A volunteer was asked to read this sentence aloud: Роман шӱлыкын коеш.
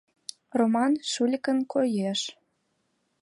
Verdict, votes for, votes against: rejected, 0, 2